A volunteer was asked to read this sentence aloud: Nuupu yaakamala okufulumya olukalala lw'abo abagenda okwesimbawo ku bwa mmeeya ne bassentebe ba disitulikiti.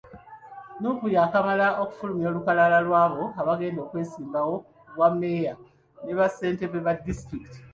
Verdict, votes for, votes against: accepted, 2, 0